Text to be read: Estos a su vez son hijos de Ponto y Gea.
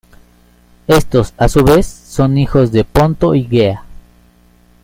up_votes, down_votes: 1, 2